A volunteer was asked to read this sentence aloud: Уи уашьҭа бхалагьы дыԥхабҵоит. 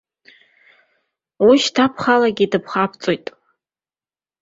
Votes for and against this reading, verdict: 2, 0, accepted